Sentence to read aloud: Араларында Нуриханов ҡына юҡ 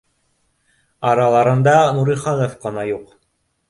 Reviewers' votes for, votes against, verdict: 2, 0, accepted